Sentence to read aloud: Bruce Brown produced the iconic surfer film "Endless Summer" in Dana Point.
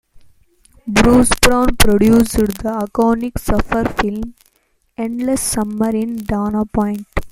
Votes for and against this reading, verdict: 0, 2, rejected